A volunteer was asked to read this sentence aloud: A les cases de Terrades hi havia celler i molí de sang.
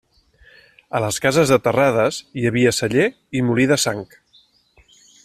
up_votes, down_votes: 3, 0